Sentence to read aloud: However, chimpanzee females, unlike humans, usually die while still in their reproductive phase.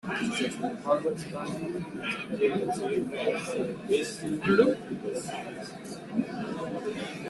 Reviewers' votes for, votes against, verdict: 0, 2, rejected